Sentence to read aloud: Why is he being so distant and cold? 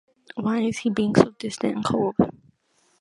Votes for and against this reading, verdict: 2, 1, accepted